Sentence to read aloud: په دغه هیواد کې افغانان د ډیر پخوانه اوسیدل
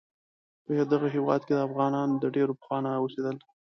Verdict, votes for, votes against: accepted, 2, 0